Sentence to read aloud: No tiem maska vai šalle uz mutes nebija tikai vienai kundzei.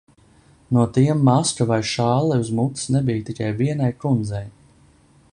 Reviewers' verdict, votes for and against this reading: accepted, 2, 0